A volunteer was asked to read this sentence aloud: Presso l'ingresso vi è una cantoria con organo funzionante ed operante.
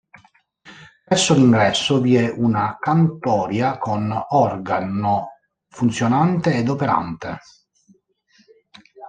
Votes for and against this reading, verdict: 0, 2, rejected